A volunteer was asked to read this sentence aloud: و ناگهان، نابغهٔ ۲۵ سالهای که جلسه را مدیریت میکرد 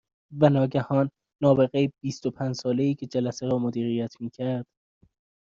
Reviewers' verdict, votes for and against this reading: rejected, 0, 2